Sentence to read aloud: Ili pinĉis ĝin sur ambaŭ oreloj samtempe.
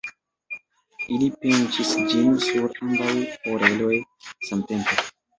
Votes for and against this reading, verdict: 3, 0, accepted